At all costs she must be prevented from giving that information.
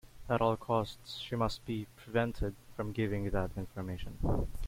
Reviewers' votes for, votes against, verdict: 2, 0, accepted